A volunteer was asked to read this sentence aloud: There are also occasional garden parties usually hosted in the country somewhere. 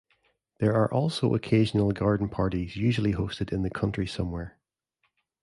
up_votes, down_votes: 2, 0